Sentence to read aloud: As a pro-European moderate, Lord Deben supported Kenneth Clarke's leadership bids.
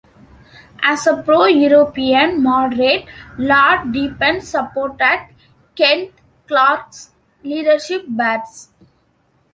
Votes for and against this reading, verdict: 0, 2, rejected